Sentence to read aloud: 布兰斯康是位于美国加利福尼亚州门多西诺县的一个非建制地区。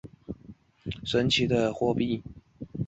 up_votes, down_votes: 1, 2